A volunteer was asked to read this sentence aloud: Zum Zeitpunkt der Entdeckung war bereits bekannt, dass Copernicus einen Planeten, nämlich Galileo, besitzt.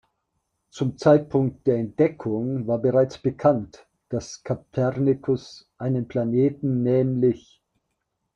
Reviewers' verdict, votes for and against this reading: rejected, 0, 2